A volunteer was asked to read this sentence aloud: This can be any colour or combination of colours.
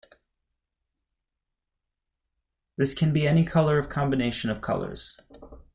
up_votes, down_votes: 1, 2